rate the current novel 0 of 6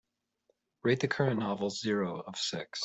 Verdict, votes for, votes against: rejected, 0, 2